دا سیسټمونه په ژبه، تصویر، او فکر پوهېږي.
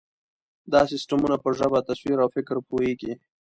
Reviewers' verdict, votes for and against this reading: accepted, 2, 0